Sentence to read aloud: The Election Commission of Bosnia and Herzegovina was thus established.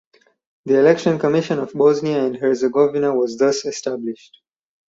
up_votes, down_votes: 4, 0